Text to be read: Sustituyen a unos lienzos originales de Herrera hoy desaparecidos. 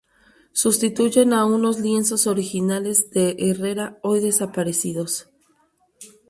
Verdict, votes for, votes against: accepted, 2, 0